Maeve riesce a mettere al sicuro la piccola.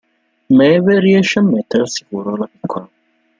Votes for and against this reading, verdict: 0, 2, rejected